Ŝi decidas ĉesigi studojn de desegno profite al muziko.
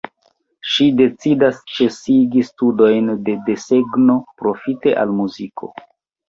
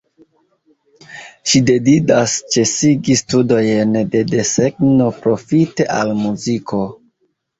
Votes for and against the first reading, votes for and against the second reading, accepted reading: 2, 0, 0, 2, first